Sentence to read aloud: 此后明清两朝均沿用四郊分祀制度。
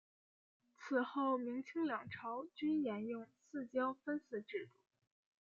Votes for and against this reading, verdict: 2, 0, accepted